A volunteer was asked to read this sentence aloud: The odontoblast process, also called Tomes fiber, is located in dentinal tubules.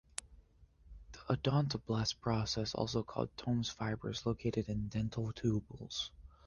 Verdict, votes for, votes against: accepted, 2, 0